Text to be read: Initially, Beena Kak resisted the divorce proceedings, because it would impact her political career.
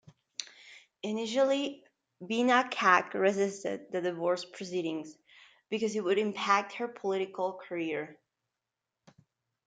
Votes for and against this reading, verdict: 2, 0, accepted